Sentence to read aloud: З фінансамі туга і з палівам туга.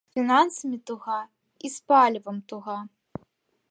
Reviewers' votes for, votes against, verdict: 1, 2, rejected